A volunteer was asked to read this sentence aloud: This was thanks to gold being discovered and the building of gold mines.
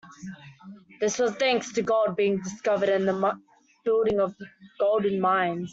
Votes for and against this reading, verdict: 0, 2, rejected